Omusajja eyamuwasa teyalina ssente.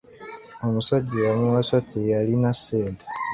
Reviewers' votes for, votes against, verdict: 2, 1, accepted